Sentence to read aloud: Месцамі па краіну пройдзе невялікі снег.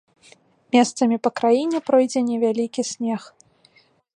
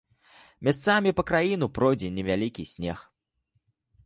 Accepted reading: first